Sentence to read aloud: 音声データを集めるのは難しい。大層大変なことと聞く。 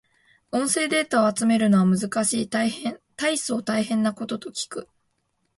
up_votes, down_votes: 2, 6